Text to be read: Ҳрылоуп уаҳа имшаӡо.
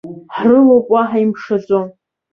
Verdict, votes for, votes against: rejected, 0, 3